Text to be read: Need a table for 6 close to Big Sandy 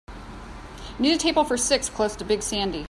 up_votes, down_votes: 0, 2